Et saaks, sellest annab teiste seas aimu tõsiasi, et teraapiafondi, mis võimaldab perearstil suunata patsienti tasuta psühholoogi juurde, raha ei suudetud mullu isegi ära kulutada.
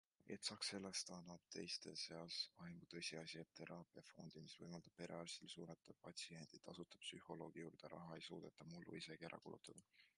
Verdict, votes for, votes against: accepted, 2, 1